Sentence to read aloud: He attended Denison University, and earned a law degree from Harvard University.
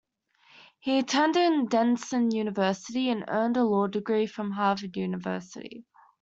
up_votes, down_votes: 2, 0